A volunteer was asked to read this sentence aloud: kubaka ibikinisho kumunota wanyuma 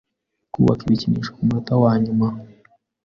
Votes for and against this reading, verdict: 2, 0, accepted